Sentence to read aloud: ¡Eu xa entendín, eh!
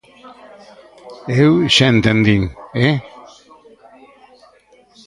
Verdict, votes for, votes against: rejected, 0, 2